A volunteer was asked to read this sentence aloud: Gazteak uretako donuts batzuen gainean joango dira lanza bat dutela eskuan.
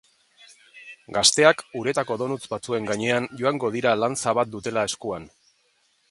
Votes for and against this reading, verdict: 2, 0, accepted